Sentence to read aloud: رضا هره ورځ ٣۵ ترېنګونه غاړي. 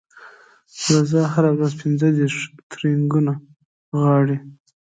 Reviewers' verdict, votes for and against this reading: rejected, 0, 2